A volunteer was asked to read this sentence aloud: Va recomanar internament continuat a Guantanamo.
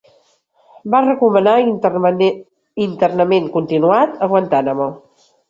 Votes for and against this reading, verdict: 0, 2, rejected